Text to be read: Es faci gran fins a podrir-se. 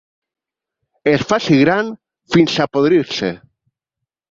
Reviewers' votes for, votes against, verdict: 2, 1, accepted